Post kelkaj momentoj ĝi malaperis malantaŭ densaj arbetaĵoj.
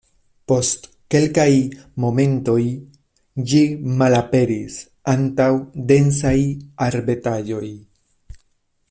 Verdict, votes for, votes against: rejected, 1, 2